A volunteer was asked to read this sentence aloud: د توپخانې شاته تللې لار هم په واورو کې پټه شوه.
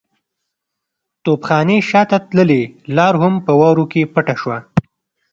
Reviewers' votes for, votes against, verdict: 2, 0, accepted